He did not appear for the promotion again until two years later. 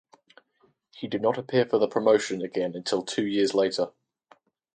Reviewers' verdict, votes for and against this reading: accepted, 4, 0